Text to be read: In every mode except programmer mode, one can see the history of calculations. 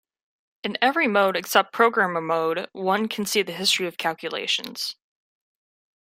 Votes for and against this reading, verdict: 3, 1, accepted